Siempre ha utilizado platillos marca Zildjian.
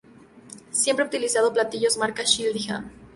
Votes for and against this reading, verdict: 0, 2, rejected